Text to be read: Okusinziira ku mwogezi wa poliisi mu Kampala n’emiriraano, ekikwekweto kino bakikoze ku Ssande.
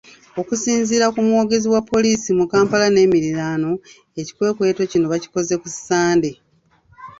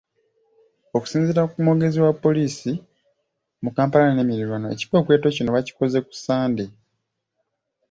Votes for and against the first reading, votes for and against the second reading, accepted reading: 2, 0, 1, 2, first